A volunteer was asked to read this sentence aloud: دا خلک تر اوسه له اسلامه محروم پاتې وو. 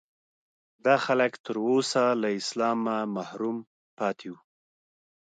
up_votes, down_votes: 2, 0